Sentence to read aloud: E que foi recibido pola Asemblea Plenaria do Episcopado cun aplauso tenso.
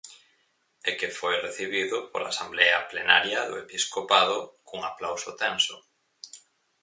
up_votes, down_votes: 0, 4